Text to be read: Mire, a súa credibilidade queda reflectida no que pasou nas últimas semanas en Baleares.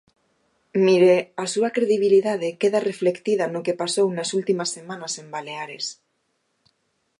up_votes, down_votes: 2, 0